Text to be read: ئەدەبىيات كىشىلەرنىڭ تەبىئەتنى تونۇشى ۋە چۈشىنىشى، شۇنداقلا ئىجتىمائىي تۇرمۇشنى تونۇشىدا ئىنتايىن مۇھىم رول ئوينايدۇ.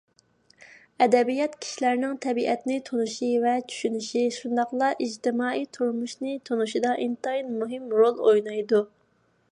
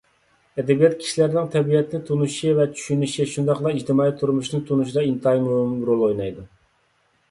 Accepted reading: first